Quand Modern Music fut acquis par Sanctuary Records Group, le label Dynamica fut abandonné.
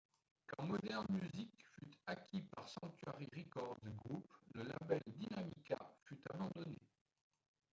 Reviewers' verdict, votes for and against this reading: rejected, 0, 2